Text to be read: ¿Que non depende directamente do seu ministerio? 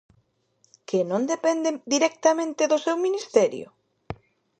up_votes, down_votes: 1, 2